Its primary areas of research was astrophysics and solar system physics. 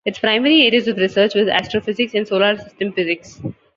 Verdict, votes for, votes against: accepted, 2, 1